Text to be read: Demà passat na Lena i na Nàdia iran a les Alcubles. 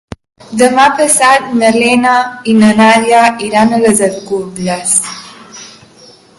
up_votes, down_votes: 0, 2